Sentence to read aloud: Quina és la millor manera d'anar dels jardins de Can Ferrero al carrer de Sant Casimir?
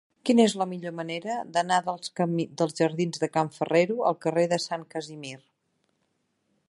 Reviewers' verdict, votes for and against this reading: rejected, 2, 3